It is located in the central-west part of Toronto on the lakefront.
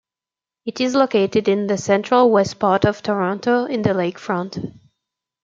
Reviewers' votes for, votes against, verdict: 1, 2, rejected